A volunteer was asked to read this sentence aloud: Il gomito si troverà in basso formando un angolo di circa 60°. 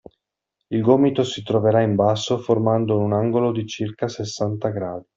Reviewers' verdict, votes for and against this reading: rejected, 0, 2